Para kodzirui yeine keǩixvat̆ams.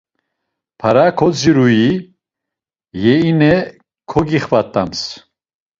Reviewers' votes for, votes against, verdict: 1, 2, rejected